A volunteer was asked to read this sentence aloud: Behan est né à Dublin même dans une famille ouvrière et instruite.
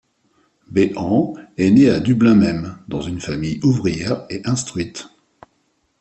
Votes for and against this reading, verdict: 2, 0, accepted